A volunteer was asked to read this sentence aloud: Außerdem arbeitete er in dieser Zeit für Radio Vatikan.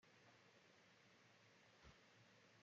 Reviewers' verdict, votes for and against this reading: rejected, 0, 2